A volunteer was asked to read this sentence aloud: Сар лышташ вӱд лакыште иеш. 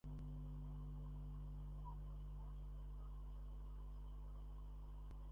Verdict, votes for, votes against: rejected, 0, 2